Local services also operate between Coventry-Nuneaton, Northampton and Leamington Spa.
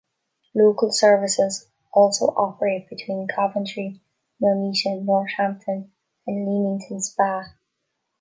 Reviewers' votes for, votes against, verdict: 1, 2, rejected